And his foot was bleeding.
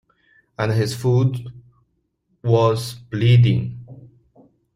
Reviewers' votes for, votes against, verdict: 2, 0, accepted